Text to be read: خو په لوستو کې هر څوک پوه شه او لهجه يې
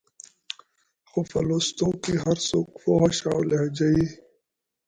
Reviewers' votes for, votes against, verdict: 1, 2, rejected